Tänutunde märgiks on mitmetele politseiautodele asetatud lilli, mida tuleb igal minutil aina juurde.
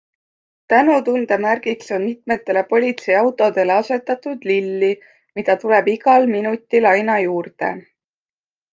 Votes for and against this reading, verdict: 2, 0, accepted